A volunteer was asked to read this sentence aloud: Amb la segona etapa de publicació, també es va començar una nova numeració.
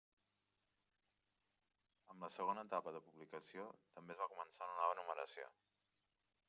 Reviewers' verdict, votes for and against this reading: accepted, 2, 0